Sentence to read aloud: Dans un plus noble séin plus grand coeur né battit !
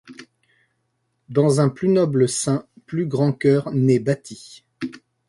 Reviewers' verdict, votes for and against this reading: accepted, 2, 0